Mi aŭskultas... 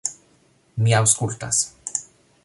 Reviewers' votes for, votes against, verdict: 1, 2, rejected